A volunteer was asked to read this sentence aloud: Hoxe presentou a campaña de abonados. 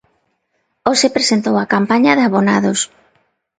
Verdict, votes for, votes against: accepted, 2, 0